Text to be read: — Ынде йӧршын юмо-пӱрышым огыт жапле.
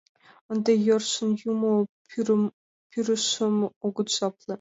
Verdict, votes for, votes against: rejected, 0, 2